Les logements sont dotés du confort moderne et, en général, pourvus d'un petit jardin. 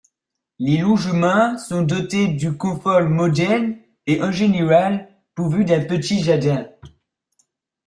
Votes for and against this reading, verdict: 1, 2, rejected